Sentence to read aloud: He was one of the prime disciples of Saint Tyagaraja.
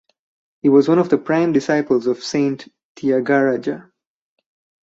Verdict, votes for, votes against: rejected, 0, 2